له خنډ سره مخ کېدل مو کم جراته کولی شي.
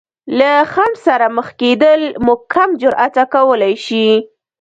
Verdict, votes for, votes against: rejected, 0, 2